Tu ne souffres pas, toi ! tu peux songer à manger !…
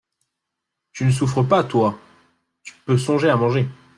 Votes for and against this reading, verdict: 2, 0, accepted